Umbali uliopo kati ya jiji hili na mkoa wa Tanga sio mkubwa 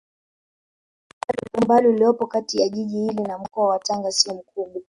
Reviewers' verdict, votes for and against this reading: rejected, 0, 2